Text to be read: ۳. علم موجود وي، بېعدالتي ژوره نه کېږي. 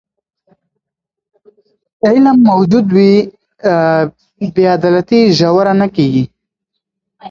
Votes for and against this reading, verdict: 0, 2, rejected